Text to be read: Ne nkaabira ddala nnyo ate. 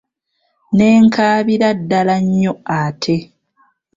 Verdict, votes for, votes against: accepted, 2, 1